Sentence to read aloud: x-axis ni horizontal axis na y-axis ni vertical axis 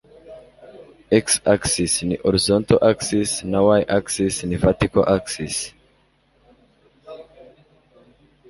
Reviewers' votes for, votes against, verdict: 1, 2, rejected